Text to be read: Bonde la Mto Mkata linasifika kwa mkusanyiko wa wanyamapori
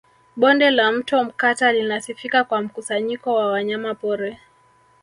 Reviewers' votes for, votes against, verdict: 2, 0, accepted